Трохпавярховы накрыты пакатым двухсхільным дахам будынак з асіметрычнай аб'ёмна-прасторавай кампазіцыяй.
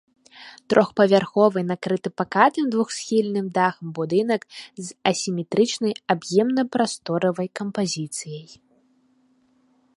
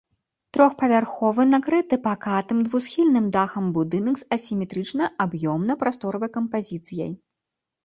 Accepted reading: second